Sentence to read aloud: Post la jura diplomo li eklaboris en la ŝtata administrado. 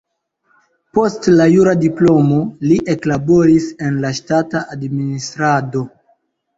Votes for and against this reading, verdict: 2, 0, accepted